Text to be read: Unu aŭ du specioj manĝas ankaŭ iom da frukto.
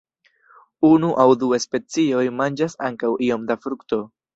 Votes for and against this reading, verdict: 2, 0, accepted